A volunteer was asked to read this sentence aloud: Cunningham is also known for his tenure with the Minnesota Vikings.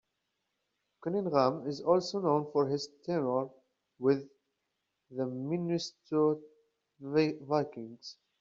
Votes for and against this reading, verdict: 0, 2, rejected